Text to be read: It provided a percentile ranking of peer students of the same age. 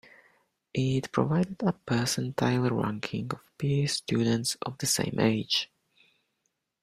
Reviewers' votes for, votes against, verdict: 2, 0, accepted